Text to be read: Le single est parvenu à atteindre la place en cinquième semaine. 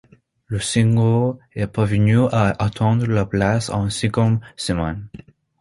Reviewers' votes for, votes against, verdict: 0, 2, rejected